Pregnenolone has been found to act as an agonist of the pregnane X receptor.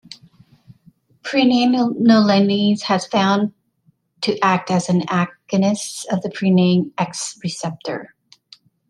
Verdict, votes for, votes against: rejected, 0, 2